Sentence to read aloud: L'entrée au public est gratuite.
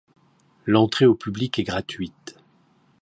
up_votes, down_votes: 2, 0